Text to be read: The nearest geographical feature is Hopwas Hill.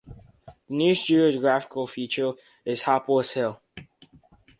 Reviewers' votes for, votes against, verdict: 0, 4, rejected